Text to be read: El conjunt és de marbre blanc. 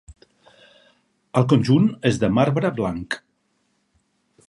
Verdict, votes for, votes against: accepted, 8, 0